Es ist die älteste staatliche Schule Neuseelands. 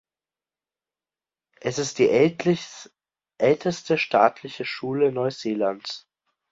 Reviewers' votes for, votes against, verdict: 0, 2, rejected